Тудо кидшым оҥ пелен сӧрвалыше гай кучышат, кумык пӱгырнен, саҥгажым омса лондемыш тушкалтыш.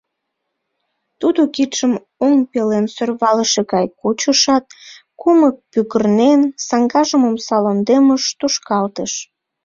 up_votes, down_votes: 2, 0